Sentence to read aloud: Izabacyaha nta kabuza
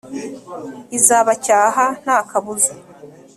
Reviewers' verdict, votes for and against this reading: accepted, 2, 0